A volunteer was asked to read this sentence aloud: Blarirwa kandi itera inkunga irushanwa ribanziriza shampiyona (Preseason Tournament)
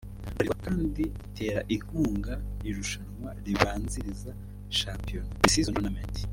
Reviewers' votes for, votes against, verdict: 2, 1, accepted